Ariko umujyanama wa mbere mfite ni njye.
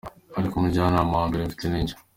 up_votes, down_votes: 2, 0